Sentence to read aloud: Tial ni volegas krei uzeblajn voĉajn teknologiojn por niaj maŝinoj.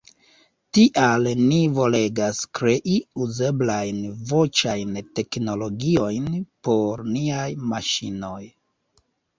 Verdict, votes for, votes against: accepted, 2, 0